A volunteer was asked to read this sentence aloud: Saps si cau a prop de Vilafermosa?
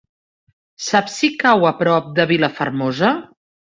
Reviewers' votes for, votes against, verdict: 3, 0, accepted